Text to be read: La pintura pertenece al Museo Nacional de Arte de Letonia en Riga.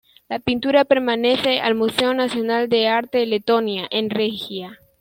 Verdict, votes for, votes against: rejected, 0, 2